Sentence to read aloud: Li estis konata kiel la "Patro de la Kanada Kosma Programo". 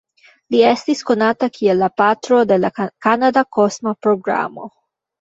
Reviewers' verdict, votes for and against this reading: rejected, 1, 2